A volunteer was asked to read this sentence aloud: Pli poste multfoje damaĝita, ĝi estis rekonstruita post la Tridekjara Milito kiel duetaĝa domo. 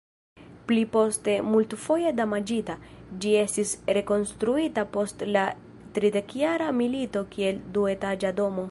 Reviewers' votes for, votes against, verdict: 2, 0, accepted